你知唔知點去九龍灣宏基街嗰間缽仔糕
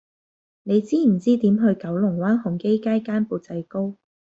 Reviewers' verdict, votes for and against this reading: rejected, 0, 2